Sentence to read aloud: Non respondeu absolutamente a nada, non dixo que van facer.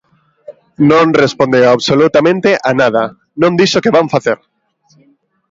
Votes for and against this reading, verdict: 2, 0, accepted